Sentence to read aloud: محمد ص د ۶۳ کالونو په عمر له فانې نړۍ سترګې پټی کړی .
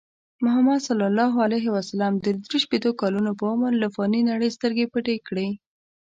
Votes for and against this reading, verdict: 0, 2, rejected